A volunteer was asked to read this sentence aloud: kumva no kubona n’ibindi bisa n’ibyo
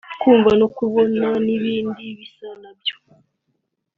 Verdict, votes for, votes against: rejected, 0, 3